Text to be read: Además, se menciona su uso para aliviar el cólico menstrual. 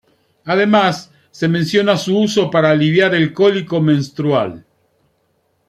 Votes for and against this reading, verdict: 2, 0, accepted